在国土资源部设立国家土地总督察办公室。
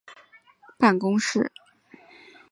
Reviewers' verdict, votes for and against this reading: rejected, 0, 2